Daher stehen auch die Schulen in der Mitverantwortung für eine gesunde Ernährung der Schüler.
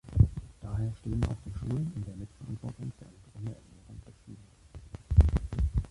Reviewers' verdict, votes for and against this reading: rejected, 0, 2